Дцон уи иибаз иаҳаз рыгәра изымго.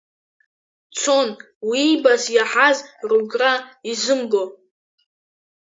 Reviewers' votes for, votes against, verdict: 1, 2, rejected